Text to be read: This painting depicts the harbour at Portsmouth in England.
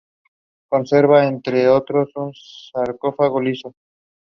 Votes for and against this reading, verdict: 0, 2, rejected